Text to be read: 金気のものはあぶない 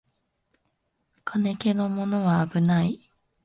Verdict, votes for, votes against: rejected, 0, 2